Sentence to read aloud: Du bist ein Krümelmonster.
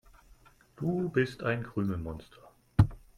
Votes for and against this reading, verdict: 2, 0, accepted